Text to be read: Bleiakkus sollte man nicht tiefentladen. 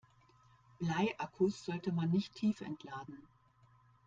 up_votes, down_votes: 2, 0